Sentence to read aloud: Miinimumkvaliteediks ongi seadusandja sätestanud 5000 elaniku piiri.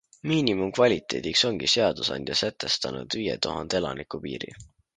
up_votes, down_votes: 0, 2